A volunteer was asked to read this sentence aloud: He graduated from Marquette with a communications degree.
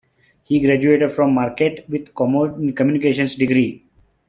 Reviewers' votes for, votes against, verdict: 0, 2, rejected